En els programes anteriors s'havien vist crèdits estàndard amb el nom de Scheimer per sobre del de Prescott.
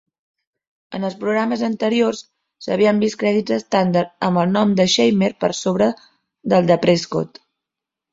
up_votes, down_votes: 2, 0